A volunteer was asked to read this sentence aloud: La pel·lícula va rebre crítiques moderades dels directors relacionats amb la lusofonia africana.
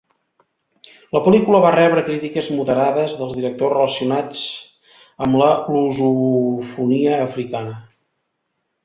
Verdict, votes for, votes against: rejected, 0, 2